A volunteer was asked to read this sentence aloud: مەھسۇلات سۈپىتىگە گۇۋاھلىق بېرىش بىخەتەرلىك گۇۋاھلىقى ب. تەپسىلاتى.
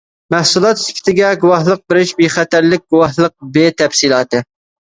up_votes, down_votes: 0, 2